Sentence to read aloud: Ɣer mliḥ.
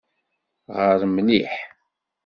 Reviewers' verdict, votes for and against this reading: accepted, 2, 0